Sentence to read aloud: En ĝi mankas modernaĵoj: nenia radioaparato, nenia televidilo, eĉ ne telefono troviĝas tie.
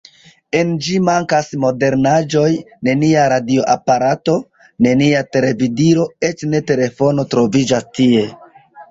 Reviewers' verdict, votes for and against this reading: accepted, 2, 0